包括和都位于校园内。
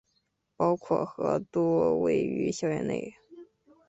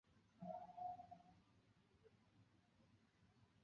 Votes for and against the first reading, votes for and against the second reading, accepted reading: 4, 0, 0, 4, first